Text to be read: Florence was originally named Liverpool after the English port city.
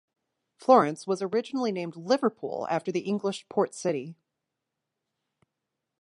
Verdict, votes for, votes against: accepted, 2, 0